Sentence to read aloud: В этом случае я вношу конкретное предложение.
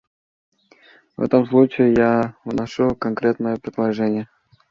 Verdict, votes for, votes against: accepted, 2, 0